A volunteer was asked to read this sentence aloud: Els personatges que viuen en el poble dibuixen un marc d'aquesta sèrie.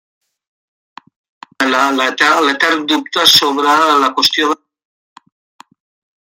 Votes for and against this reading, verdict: 0, 2, rejected